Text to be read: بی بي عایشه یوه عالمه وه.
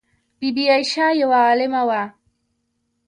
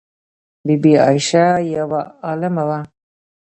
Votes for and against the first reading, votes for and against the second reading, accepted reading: 2, 0, 0, 2, first